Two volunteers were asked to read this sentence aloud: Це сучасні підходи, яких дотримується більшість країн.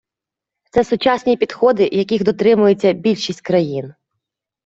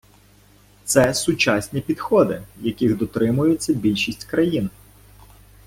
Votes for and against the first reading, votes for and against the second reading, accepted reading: 2, 0, 0, 2, first